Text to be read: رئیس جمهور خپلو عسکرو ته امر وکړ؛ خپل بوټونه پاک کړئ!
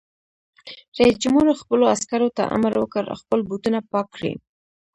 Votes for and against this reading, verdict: 1, 2, rejected